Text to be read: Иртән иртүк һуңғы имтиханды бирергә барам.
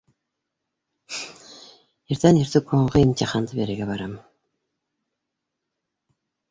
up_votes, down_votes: 2, 0